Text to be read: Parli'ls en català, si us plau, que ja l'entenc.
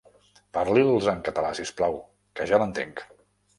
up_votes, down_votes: 1, 2